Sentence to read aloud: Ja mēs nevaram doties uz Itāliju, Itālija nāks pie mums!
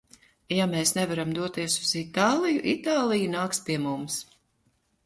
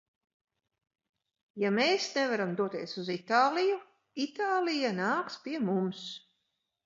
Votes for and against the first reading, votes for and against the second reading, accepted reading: 2, 0, 0, 2, first